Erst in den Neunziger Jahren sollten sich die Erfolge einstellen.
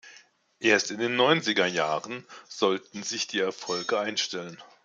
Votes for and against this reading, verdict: 2, 0, accepted